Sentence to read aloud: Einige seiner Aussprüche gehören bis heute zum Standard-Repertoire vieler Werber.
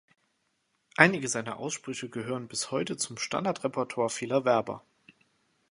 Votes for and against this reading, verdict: 2, 0, accepted